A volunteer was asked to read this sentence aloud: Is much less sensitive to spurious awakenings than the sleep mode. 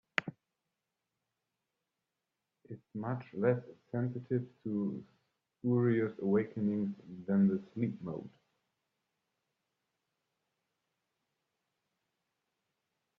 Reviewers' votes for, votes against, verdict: 0, 2, rejected